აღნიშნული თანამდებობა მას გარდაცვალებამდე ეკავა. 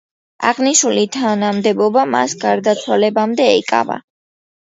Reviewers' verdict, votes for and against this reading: accepted, 2, 0